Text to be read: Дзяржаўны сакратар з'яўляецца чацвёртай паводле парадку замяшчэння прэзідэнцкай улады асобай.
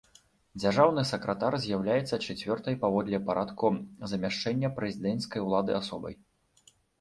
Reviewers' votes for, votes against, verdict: 0, 2, rejected